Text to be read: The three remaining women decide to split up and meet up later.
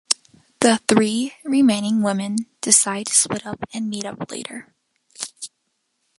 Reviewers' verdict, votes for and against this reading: accepted, 2, 1